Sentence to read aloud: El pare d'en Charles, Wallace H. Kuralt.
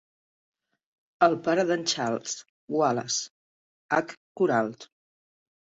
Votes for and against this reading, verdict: 1, 2, rejected